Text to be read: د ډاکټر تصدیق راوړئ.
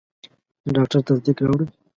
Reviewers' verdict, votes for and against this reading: accepted, 2, 0